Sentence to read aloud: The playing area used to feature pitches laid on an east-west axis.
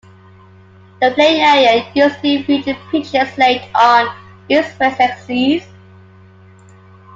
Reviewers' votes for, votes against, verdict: 0, 2, rejected